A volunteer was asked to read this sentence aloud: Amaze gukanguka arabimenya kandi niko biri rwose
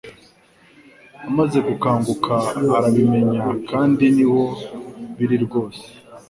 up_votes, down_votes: 1, 2